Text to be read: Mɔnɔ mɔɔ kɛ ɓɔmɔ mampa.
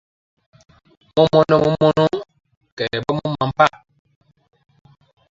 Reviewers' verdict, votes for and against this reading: rejected, 0, 2